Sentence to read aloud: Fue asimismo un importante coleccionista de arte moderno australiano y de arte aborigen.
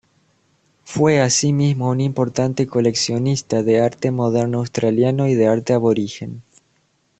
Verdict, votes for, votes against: accepted, 2, 0